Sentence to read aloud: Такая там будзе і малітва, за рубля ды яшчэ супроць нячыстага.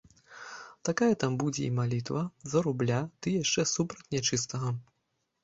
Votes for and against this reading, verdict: 0, 2, rejected